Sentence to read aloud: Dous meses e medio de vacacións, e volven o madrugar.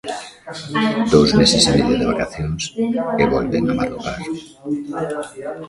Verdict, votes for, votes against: rejected, 0, 2